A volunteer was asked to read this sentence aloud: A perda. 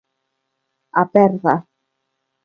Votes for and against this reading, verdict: 3, 1, accepted